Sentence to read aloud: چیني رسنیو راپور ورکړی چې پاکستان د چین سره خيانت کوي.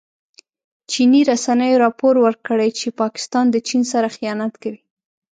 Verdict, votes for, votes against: accepted, 2, 0